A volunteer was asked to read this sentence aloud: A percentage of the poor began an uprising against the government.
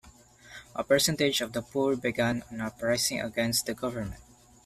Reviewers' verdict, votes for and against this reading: accepted, 2, 0